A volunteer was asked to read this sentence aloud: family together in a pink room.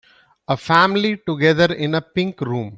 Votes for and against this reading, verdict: 0, 2, rejected